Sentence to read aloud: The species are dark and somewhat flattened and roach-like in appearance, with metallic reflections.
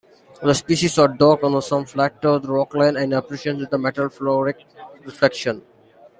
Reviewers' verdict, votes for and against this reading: rejected, 0, 2